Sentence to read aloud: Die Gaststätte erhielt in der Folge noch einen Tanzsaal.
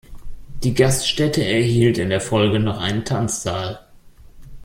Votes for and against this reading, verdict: 2, 0, accepted